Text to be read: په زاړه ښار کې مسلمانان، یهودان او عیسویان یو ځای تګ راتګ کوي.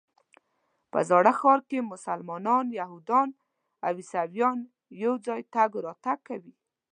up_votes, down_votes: 2, 0